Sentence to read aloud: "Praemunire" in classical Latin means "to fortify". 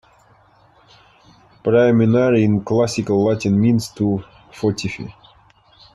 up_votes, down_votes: 2, 1